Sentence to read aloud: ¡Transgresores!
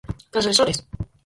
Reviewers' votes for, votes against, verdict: 0, 4, rejected